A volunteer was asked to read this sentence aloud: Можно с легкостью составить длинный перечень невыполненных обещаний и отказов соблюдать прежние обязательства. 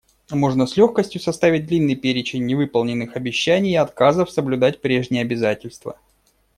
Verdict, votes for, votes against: accepted, 2, 0